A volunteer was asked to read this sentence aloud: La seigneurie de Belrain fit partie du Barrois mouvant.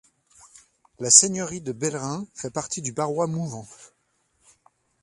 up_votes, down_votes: 0, 2